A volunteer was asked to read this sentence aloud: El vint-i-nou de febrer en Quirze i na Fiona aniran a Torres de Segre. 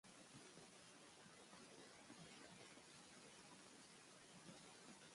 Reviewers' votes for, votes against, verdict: 0, 2, rejected